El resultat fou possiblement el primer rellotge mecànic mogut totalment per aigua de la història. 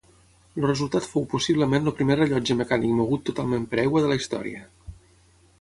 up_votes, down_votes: 6, 9